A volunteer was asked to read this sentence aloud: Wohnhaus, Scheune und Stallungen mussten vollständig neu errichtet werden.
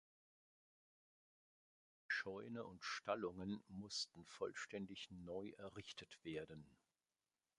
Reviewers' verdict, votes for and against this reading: rejected, 0, 2